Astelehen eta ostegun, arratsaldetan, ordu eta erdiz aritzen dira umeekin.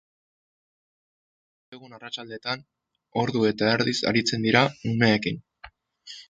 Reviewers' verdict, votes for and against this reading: rejected, 0, 2